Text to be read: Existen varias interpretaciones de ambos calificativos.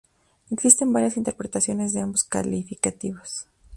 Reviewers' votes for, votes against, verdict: 2, 2, rejected